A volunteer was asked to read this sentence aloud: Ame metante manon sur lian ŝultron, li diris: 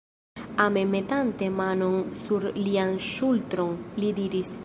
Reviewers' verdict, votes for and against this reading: rejected, 0, 2